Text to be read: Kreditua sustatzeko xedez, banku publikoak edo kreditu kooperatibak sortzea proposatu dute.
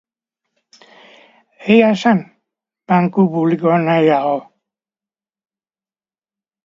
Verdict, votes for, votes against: rejected, 0, 3